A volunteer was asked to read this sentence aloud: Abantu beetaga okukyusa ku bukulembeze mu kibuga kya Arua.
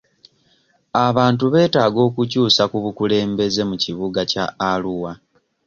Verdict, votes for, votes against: accepted, 2, 0